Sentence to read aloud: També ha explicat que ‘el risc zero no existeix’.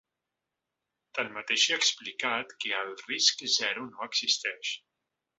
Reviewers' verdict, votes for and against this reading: rejected, 1, 3